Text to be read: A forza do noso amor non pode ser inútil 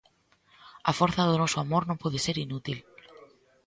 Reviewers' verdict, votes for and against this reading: rejected, 1, 2